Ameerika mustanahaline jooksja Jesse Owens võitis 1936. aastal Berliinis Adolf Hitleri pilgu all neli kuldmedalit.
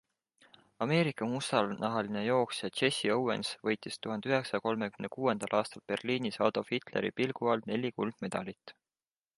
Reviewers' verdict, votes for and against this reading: rejected, 0, 2